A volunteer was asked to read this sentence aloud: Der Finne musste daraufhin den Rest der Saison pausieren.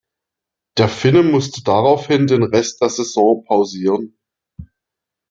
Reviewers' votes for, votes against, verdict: 2, 0, accepted